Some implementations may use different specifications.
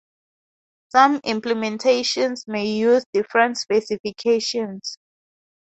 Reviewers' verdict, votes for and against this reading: accepted, 4, 0